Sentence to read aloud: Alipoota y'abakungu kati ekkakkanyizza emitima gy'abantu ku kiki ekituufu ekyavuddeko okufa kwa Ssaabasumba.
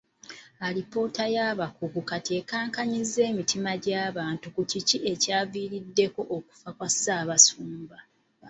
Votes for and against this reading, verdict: 1, 2, rejected